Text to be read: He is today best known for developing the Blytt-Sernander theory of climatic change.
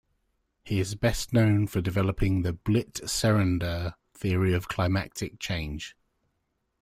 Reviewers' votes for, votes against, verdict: 1, 2, rejected